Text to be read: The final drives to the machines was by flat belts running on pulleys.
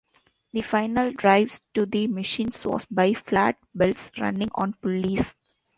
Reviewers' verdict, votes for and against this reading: rejected, 1, 2